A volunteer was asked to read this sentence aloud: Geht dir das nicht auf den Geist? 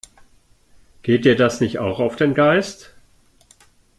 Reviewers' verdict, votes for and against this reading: rejected, 0, 2